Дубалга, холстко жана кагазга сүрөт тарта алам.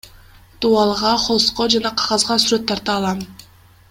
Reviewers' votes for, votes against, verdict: 2, 0, accepted